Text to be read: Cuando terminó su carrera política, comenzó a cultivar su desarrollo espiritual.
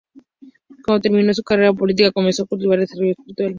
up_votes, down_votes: 0, 2